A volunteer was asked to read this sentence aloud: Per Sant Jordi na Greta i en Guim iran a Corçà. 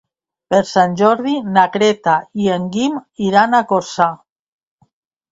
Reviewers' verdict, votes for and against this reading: accepted, 2, 0